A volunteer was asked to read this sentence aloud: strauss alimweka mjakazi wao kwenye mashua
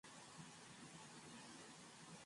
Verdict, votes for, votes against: rejected, 0, 9